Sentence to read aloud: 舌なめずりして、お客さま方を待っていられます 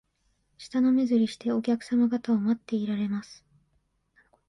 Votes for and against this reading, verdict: 2, 0, accepted